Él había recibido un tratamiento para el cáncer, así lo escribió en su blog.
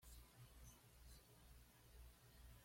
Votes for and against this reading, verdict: 1, 2, rejected